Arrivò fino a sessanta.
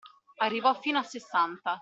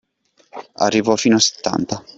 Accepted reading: first